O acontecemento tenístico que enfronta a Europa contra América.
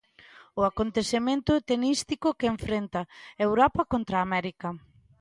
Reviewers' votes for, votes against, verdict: 0, 2, rejected